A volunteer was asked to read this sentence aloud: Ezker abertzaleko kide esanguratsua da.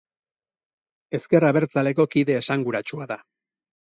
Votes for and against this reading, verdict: 2, 2, rejected